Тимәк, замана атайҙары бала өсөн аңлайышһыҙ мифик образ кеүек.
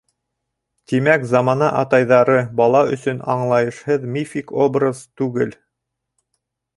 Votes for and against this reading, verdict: 1, 3, rejected